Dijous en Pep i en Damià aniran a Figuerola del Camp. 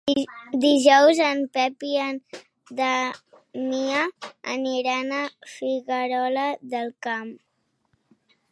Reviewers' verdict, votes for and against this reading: rejected, 0, 2